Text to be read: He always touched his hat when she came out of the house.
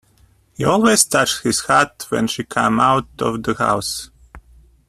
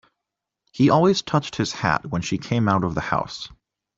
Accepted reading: second